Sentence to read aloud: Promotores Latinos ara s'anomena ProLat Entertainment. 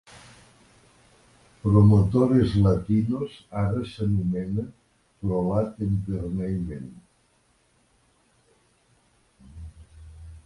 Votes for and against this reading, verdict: 1, 2, rejected